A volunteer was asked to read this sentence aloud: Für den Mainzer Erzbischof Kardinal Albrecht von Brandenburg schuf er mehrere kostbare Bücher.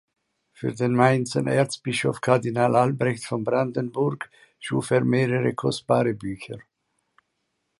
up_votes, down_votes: 2, 0